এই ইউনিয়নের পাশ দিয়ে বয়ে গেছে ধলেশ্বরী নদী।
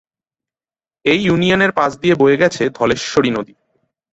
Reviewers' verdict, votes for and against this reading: accepted, 3, 0